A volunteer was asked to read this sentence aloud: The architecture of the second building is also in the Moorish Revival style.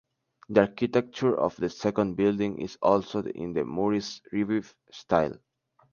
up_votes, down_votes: 0, 2